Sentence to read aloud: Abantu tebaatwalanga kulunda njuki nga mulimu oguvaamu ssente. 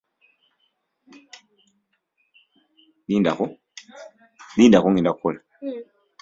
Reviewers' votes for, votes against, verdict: 0, 2, rejected